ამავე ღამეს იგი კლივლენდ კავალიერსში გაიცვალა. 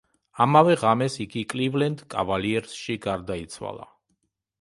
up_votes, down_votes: 1, 2